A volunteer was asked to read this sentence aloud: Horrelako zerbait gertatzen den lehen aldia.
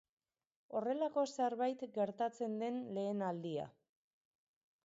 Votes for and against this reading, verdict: 4, 0, accepted